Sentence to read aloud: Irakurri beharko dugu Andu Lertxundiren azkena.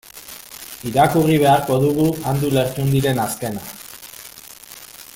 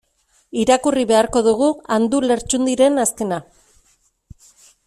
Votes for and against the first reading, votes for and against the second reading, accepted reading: 0, 2, 2, 0, second